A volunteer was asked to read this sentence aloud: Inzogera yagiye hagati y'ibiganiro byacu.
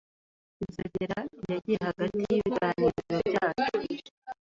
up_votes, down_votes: 1, 2